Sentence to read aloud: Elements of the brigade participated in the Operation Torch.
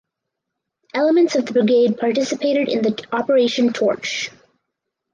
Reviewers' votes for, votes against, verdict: 2, 4, rejected